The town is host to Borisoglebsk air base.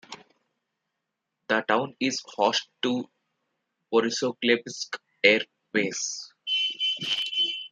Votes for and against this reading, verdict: 5, 4, accepted